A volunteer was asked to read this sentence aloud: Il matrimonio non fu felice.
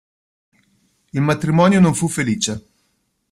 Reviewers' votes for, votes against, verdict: 2, 0, accepted